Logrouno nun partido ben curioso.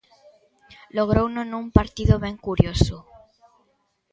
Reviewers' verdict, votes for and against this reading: accepted, 2, 0